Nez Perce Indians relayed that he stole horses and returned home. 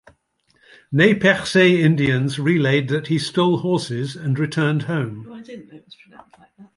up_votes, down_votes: 0, 2